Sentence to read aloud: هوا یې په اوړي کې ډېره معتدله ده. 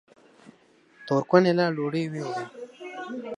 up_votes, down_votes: 0, 2